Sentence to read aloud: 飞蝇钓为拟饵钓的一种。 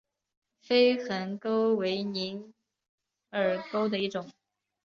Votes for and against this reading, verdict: 1, 3, rejected